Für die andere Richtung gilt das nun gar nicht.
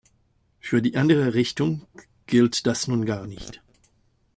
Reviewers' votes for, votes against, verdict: 2, 0, accepted